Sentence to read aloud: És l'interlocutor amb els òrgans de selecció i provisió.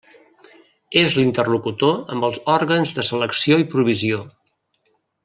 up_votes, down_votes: 3, 0